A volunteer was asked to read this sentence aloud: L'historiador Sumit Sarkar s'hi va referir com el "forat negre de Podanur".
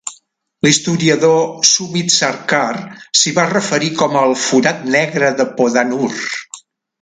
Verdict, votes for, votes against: accepted, 3, 0